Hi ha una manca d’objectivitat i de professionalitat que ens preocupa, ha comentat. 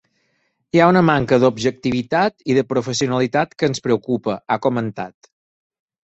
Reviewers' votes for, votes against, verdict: 6, 0, accepted